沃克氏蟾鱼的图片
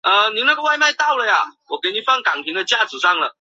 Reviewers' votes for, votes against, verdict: 0, 4, rejected